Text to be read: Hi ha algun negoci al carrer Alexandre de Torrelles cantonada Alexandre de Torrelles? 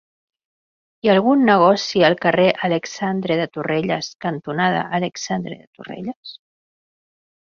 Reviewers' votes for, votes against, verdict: 3, 0, accepted